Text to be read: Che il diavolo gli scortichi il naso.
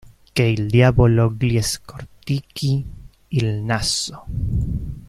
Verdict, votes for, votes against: rejected, 1, 2